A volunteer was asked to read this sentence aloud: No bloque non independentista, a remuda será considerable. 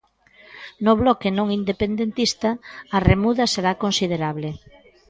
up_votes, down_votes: 2, 0